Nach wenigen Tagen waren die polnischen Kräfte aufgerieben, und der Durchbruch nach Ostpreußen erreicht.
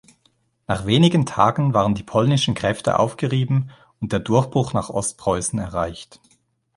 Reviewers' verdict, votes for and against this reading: accepted, 2, 0